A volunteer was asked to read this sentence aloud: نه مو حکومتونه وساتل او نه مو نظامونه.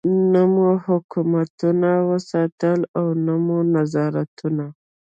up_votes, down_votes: 2, 0